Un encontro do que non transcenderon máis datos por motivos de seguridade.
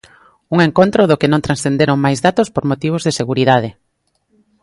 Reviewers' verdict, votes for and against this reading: accepted, 2, 0